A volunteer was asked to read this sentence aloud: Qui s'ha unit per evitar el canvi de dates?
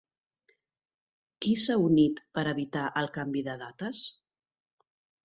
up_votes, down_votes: 4, 0